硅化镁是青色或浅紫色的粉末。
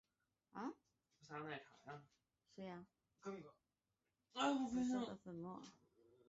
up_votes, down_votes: 0, 3